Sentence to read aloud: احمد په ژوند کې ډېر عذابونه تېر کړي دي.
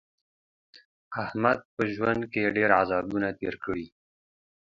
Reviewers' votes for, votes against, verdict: 2, 0, accepted